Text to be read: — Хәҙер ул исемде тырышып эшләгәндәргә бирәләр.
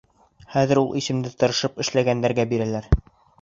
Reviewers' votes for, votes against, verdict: 3, 0, accepted